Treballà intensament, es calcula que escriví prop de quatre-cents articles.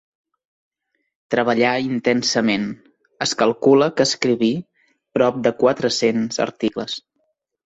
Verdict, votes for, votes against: accepted, 3, 0